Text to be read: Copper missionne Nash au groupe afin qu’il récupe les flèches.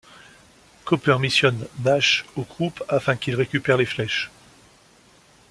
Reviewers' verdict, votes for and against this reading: accepted, 2, 0